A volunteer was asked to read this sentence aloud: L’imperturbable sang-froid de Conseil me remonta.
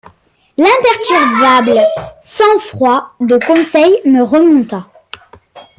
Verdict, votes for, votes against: rejected, 0, 2